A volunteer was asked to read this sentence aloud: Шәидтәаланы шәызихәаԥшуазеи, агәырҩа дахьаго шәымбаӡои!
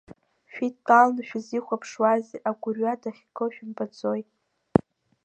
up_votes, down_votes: 2, 1